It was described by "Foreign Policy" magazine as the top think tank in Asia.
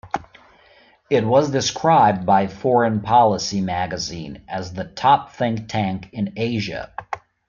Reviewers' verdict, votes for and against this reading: accepted, 2, 0